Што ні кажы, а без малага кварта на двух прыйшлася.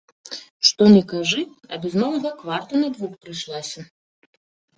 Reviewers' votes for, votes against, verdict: 2, 0, accepted